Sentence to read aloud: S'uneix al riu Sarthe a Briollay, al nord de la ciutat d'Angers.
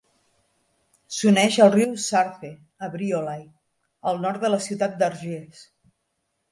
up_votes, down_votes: 1, 2